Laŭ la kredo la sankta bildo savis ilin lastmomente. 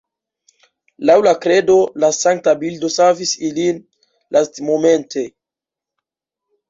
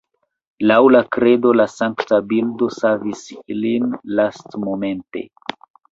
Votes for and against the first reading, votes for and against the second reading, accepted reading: 2, 3, 2, 0, second